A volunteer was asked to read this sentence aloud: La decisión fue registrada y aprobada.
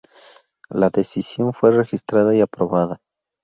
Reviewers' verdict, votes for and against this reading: accepted, 4, 0